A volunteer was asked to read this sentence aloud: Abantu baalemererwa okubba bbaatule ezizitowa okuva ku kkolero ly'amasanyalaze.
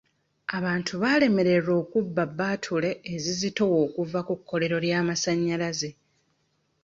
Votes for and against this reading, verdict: 2, 0, accepted